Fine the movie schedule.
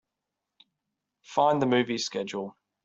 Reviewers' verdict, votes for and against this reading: accepted, 3, 0